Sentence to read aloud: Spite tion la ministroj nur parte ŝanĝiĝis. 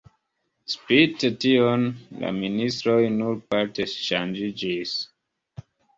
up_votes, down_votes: 4, 0